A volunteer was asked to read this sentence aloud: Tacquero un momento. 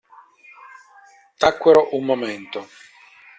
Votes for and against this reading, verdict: 2, 0, accepted